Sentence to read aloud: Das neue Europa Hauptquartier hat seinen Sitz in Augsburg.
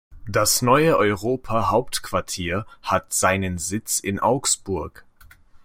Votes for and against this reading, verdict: 2, 0, accepted